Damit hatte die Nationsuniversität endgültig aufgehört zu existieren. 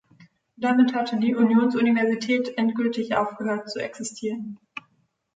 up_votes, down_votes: 0, 2